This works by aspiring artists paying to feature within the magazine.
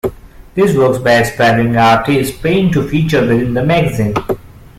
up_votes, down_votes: 0, 2